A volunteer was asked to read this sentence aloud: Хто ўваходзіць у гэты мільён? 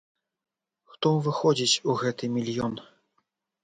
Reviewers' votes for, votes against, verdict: 2, 0, accepted